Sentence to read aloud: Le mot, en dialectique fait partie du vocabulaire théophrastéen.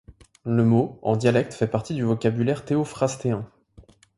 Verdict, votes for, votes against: rejected, 0, 2